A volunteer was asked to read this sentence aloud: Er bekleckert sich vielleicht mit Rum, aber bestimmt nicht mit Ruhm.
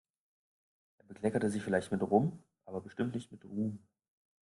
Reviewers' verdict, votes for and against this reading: rejected, 2, 3